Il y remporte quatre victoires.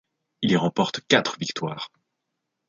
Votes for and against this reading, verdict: 2, 0, accepted